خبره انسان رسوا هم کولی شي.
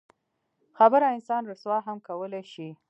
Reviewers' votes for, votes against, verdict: 2, 0, accepted